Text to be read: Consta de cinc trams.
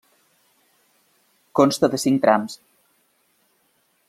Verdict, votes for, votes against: accepted, 3, 0